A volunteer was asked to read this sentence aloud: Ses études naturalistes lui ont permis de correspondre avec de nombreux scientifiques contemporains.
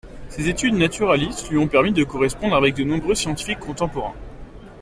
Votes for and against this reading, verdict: 2, 0, accepted